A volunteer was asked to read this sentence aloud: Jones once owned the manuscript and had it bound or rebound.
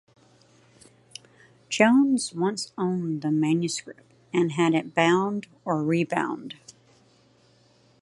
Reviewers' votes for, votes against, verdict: 2, 0, accepted